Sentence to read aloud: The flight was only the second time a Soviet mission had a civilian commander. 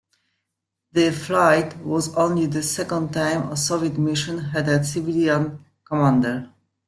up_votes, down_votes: 2, 0